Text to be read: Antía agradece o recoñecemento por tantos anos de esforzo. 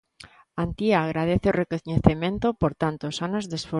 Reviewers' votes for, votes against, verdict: 0, 2, rejected